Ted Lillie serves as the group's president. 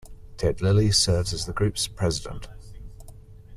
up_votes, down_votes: 3, 0